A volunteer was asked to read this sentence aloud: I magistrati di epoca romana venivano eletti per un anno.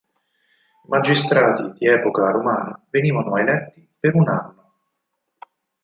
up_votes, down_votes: 2, 4